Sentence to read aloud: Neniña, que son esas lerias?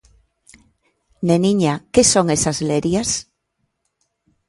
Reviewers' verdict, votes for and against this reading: accepted, 2, 0